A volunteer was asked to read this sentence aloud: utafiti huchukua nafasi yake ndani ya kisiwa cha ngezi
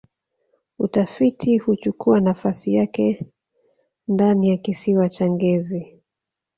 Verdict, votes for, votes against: rejected, 1, 2